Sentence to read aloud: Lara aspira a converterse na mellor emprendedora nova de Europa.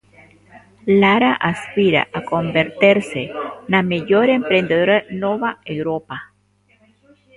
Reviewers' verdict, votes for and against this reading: rejected, 0, 2